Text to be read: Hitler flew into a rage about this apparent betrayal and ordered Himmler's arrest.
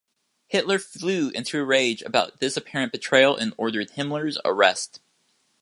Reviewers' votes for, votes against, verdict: 2, 0, accepted